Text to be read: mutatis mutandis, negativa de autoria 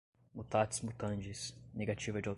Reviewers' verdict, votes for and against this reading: rejected, 0, 2